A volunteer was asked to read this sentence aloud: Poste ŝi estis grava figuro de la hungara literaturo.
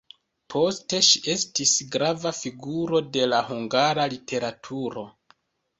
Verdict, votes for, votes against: accepted, 2, 0